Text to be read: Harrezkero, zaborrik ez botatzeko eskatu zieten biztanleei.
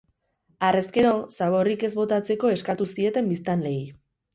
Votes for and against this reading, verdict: 2, 2, rejected